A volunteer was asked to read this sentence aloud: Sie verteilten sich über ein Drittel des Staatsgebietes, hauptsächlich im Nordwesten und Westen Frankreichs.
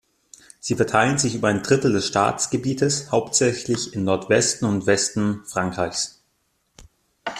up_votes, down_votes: 2, 0